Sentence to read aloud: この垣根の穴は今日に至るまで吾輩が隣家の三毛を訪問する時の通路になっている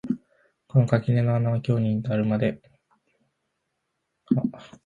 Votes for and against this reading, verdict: 0, 4, rejected